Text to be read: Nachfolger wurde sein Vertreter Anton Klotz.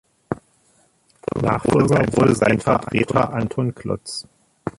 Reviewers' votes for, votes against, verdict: 1, 2, rejected